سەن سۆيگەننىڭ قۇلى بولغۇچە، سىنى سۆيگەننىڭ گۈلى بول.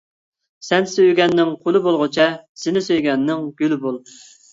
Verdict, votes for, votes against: accepted, 2, 0